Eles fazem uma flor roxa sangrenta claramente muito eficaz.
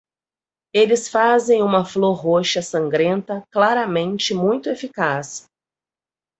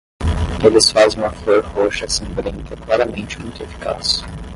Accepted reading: first